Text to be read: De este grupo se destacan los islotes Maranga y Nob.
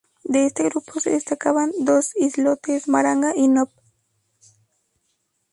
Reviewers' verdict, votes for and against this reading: rejected, 0, 2